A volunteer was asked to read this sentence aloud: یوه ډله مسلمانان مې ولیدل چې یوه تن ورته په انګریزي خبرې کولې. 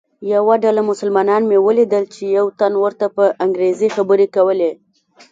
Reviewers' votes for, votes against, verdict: 2, 0, accepted